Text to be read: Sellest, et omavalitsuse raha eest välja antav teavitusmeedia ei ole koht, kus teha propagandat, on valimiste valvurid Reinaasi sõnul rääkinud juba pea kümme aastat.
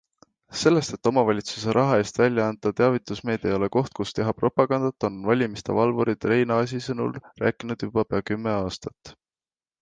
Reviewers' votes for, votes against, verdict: 2, 0, accepted